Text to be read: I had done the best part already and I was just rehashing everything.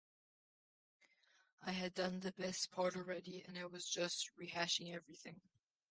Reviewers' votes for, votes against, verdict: 2, 0, accepted